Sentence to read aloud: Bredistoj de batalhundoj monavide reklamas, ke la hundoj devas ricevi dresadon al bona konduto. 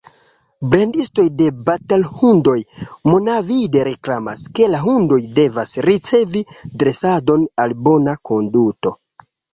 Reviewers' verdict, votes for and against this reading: rejected, 0, 2